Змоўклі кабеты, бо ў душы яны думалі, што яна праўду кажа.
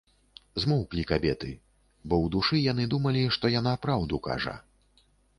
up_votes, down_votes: 2, 0